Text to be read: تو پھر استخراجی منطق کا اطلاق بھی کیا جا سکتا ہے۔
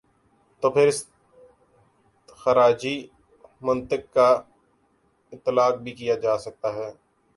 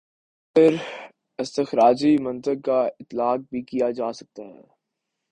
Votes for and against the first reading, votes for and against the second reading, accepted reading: 2, 2, 5, 0, second